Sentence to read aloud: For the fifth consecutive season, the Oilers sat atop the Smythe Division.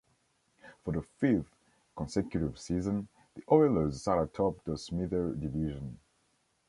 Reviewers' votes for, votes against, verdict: 2, 0, accepted